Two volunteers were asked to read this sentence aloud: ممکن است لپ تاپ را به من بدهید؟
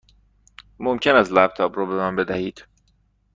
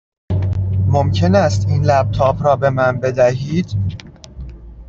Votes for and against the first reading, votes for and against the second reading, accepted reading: 2, 0, 1, 2, first